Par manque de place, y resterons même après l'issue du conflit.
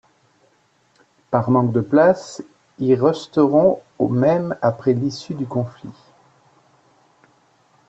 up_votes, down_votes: 1, 2